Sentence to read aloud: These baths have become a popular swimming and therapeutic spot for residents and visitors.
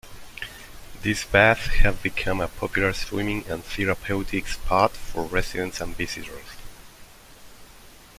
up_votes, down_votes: 2, 1